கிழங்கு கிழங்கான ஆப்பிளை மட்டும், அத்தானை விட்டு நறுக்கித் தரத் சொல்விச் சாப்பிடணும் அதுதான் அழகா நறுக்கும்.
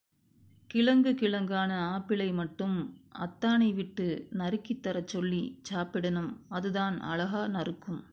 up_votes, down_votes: 1, 2